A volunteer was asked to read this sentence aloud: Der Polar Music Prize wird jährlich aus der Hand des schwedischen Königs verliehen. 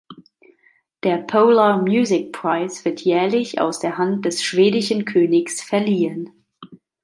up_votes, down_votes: 2, 0